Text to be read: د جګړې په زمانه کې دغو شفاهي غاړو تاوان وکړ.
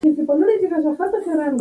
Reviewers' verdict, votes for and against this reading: rejected, 0, 2